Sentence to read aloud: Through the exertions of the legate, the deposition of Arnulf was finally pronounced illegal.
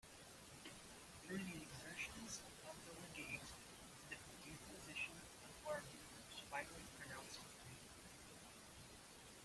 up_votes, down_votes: 0, 2